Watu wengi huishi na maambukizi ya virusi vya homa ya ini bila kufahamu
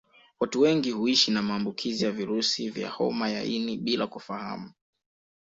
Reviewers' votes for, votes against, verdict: 2, 1, accepted